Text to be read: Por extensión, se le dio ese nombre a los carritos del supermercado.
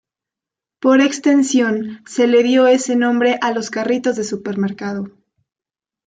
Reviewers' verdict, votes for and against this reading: rejected, 0, 2